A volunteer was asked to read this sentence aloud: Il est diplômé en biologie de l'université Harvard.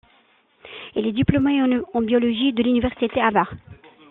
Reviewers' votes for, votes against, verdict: 2, 1, accepted